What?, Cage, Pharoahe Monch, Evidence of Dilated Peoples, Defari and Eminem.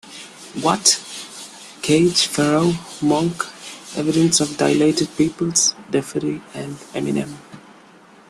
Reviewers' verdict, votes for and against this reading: accepted, 2, 0